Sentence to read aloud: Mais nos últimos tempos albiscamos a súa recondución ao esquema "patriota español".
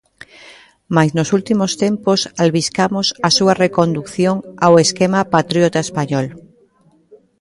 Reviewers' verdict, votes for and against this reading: rejected, 0, 2